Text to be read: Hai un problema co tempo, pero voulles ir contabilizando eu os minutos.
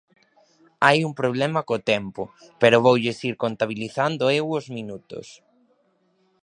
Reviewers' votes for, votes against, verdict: 1, 2, rejected